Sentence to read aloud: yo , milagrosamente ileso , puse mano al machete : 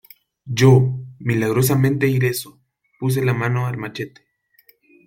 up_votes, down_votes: 1, 2